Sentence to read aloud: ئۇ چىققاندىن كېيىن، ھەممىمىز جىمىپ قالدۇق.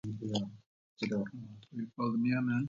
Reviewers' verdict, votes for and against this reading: rejected, 0, 2